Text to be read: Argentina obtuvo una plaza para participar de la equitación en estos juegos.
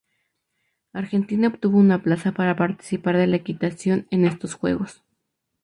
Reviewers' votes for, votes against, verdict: 0, 2, rejected